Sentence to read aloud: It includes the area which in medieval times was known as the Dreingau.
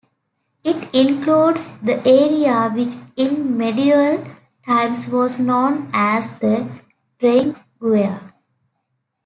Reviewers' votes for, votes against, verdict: 1, 2, rejected